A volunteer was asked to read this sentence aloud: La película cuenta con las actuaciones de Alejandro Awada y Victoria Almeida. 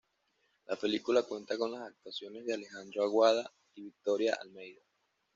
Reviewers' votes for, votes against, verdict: 2, 1, accepted